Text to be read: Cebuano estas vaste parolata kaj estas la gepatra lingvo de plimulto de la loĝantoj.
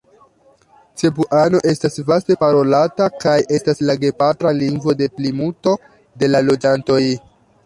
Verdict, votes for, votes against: accepted, 2, 0